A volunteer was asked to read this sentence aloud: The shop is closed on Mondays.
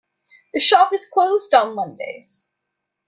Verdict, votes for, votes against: accepted, 2, 0